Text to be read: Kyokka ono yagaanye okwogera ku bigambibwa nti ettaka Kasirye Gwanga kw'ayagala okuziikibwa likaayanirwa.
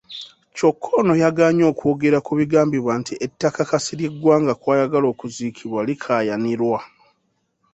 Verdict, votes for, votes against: accepted, 3, 0